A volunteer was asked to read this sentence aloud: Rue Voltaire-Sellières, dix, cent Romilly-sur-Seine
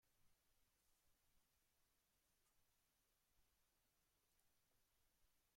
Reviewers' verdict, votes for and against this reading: rejected, 0, 2